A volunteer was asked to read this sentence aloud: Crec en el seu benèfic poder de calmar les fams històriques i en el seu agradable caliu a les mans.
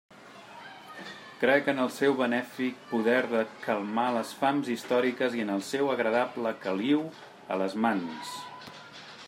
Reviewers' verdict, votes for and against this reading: accepted, 2, 1